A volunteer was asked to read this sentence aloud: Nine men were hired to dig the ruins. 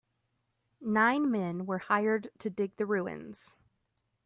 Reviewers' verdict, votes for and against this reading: accepted, 2, 0